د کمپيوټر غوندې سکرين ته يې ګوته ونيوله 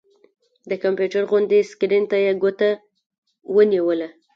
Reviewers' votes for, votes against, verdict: 2, 0, accepted